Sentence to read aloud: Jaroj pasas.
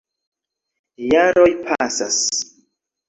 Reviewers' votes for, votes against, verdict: 3, 0, accepted